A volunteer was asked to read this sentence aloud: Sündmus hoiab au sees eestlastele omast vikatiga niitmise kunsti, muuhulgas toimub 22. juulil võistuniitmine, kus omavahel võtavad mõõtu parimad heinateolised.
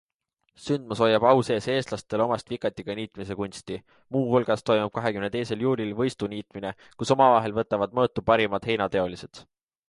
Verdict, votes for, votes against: rejected, 0, 2